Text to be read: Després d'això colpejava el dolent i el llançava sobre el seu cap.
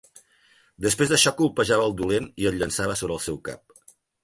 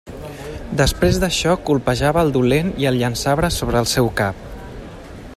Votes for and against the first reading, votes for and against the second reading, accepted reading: 4, 0, 0, 2, first